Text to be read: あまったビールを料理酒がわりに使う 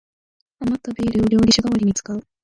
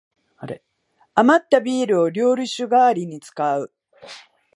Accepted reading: second